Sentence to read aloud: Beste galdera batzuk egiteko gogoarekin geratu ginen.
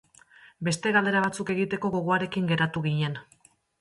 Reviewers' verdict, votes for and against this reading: accepted, 2, 0